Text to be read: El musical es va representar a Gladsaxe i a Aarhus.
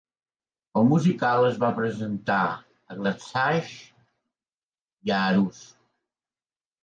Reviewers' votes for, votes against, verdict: 1, 2, rejected